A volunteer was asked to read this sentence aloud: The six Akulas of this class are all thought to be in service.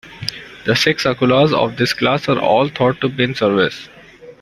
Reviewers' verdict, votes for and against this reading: rejected, 1, 2